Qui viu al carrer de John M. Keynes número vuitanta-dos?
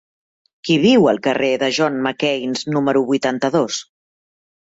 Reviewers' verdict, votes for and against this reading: rejected, 1, 2